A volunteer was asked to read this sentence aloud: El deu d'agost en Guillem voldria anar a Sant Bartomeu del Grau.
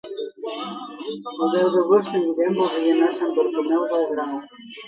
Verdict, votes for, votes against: accepted, 2, 0